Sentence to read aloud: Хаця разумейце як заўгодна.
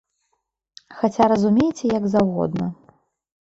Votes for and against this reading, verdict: 2, 0, accepted